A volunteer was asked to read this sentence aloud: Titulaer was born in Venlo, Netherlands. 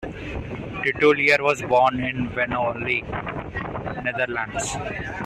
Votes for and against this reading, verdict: 1, 2, rejected